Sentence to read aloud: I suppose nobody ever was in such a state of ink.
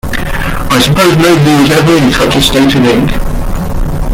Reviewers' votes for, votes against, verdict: 0, 2, rejected